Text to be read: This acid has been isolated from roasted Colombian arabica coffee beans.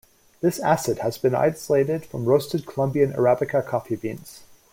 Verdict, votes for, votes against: accepted, 2, 0